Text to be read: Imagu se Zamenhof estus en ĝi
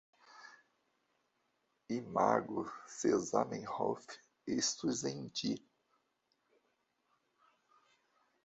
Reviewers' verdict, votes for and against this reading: rejected, 0, 2